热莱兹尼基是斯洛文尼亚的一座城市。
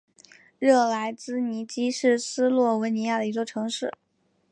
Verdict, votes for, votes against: accepted, 2, 0